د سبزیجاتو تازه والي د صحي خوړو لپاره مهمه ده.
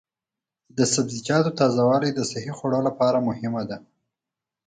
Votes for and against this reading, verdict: 4, 0, accepted